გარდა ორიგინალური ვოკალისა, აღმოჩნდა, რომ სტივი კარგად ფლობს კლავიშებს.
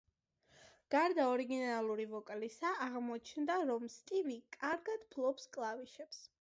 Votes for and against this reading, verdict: 2, 0, accepted